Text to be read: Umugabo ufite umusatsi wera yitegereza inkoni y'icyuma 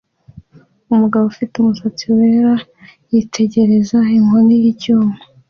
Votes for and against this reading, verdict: 2, 0, accepted